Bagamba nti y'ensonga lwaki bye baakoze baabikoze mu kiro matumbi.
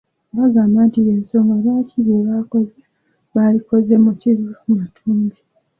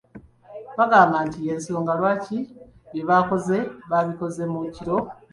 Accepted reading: first